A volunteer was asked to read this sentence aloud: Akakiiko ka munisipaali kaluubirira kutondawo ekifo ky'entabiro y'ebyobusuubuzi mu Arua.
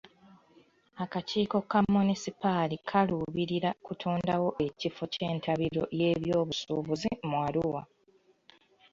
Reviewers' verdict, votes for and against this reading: accepted, 2, 0